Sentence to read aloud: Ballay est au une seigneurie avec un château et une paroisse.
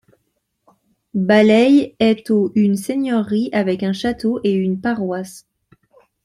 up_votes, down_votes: 2, 0